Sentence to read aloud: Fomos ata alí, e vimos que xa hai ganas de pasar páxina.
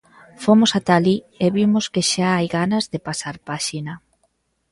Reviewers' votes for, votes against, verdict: 2, 0, accepted